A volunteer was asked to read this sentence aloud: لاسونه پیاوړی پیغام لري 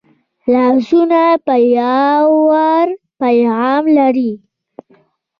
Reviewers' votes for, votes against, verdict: 1, 2, rejected